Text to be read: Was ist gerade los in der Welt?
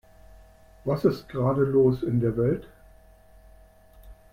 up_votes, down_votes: 3, 0